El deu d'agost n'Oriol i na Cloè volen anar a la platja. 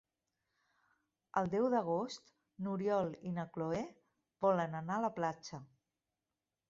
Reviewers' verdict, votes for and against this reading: accepted, 2, 0